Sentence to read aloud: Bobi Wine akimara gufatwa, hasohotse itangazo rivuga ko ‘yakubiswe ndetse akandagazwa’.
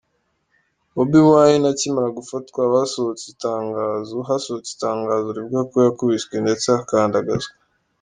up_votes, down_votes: 2, 0